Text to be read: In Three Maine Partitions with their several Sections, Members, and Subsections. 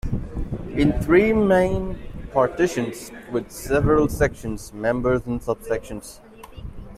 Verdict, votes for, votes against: rejected, 1, 2